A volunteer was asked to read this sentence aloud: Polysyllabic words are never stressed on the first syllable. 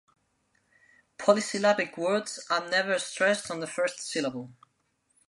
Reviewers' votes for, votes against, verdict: 3, 0, accepted